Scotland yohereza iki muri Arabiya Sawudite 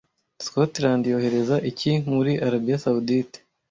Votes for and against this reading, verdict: 2, 1, accepted